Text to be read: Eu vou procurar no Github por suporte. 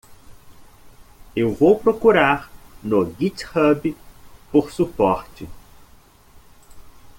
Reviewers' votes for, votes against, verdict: 2, 0, accepted